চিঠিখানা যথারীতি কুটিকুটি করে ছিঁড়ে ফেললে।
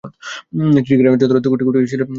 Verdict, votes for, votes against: rejected, 0, 2